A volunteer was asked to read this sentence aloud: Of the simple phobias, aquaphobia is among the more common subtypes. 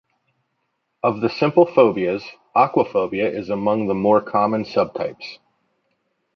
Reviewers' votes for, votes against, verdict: 2, 0, accepted